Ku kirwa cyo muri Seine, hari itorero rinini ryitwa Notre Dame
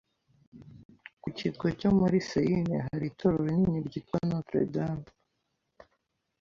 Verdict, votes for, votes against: accepted, 2, 0